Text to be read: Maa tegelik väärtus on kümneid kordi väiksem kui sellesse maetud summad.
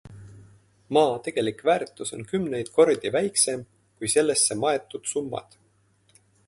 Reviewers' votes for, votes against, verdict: 2, 0, accepted